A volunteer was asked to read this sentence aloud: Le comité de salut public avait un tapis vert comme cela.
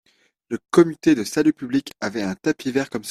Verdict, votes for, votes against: rejected, 0, 2